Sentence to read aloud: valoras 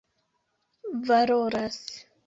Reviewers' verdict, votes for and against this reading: accepted, 2, 0